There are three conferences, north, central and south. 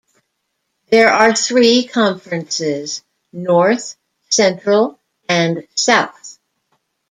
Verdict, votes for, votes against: accepted, 2, 0